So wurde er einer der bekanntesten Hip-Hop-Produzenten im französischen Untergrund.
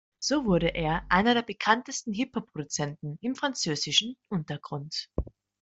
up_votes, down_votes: 2, 1